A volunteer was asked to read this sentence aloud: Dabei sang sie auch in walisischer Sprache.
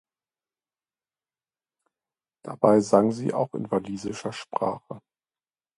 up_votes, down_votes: 2, 0